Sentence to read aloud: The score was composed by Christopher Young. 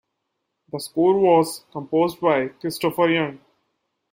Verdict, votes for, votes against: accepted, 2, 0